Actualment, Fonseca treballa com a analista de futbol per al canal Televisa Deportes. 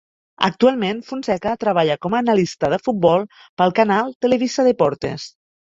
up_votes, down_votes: 1, 2